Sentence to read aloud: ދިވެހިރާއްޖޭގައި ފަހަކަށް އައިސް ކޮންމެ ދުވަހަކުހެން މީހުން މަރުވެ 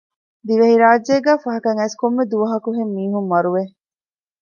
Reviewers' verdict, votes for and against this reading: accepted, 2, 0